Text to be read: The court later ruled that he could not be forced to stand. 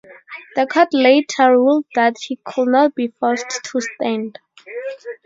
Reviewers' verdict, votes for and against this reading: accepted, 4, 0